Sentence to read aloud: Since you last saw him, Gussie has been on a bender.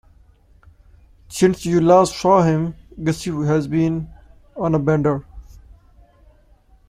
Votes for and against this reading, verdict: 1, 2, rejected